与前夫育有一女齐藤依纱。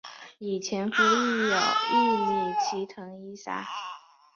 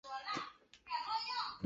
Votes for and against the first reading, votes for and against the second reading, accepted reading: 5, 2, 1, 2, first